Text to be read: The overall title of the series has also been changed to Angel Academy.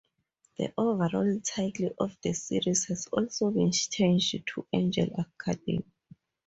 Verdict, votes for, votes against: rejected, 2, 2